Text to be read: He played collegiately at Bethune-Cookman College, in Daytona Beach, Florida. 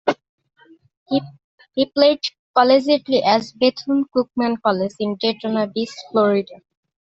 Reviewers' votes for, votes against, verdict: 0, 2, rejected